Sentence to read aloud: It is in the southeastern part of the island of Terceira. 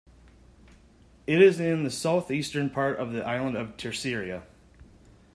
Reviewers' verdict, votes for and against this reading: rejected, 0, 2